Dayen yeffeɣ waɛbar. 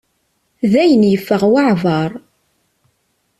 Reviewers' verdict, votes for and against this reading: accepted, 2, 0